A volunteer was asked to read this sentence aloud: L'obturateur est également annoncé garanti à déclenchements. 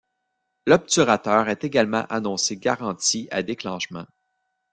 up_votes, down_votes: 2, 0